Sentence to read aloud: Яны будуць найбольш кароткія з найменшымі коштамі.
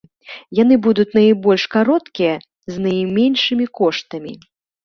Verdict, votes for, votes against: accepted, 2, 0